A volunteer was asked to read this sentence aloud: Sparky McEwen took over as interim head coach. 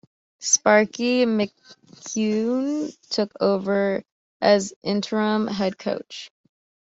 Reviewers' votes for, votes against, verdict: 1, 2, rejected